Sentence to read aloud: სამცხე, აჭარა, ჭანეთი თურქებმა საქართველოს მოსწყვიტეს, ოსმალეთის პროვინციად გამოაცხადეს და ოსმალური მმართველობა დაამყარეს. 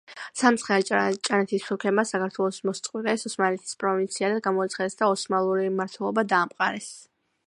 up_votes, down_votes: 2, 1